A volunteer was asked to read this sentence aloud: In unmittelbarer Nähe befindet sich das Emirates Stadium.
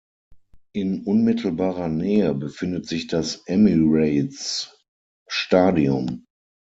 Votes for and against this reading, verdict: 6, 3, accepted